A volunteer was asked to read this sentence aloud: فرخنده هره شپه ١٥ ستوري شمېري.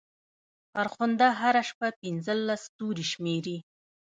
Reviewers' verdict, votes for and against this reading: rejected, 0, 2